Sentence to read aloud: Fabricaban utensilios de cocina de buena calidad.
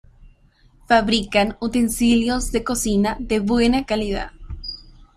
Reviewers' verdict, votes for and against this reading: rejected, 0, 2